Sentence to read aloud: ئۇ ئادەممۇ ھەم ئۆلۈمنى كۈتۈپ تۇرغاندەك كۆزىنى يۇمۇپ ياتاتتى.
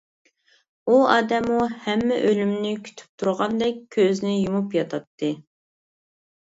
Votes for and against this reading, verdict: 0, 2, rejected